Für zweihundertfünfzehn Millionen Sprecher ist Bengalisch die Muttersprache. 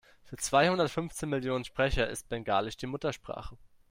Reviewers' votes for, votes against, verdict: 2, 0, accepted